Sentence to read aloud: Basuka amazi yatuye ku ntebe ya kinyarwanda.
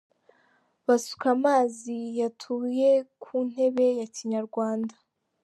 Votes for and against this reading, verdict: 2, 1, accepted